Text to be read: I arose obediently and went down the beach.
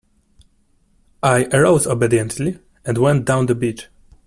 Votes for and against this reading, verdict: 2, 0, accepted